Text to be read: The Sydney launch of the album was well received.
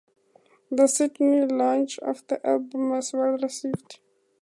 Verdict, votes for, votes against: accepted, 2, 0